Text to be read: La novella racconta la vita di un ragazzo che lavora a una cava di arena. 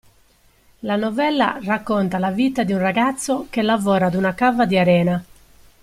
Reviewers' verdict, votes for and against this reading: accepted, 2, 1